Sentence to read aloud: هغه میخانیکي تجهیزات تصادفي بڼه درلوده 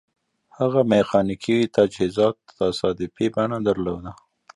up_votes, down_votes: 2, 0